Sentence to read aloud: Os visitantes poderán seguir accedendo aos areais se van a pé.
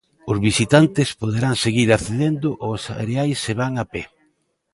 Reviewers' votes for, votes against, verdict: 2, 0, accepted